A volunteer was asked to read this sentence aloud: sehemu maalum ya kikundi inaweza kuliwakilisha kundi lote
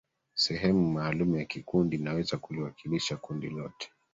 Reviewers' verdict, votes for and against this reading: rejected, 1, 2